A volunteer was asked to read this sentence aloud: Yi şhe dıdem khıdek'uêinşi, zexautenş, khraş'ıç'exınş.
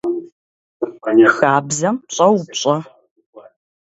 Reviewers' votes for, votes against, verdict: 0, 3, rejected